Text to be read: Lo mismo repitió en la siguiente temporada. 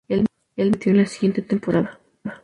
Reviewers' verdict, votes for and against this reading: rejected, 0, 2